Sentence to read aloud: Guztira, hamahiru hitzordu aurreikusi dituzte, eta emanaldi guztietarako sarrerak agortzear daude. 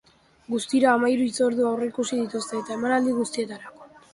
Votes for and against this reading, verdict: 0, 2, rejected